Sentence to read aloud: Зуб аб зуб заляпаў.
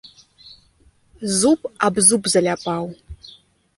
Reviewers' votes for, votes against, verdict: 2, 1, accepted